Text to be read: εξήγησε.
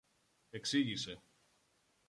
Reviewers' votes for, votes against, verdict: 2, 0, accepted